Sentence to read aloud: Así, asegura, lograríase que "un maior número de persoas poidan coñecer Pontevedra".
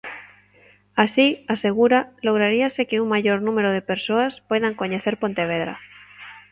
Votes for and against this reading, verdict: 2, 0, accepted